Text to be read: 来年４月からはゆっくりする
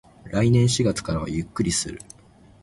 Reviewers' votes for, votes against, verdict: 0, 2, rejected